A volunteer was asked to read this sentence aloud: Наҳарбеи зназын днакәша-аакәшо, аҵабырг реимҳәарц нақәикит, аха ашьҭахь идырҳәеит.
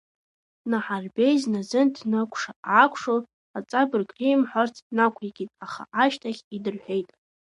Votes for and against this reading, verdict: 0, 2, rejected